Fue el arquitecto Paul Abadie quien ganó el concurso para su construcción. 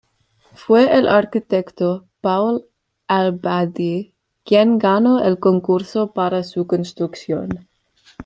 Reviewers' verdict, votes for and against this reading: accepted, 2, 0